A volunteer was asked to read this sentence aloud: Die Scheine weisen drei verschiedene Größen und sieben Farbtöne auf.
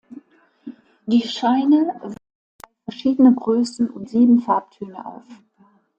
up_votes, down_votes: 0, 2